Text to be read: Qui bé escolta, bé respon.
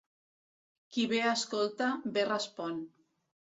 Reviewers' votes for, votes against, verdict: 2, 0, accepted